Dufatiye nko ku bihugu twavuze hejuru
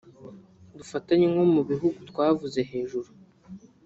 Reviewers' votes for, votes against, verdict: 1, 2, rejected